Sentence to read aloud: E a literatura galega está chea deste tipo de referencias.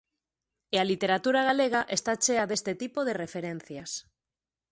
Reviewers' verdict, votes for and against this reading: accepted, 2, 0